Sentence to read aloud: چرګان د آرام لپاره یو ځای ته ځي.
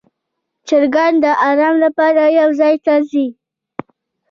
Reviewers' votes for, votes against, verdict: 2, 0, accepted